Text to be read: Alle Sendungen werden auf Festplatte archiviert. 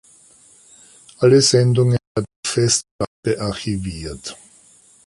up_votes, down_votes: 1, 2